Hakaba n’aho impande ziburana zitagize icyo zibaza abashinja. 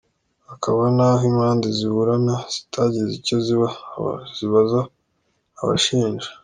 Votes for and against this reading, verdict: 2, 0, accepted